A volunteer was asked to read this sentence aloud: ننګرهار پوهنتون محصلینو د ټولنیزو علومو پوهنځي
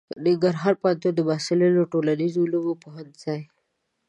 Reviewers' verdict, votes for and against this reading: accepted, 2, 0